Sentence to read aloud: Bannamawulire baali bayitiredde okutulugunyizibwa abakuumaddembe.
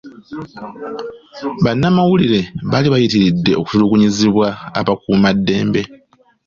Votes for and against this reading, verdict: 2, 0, accepted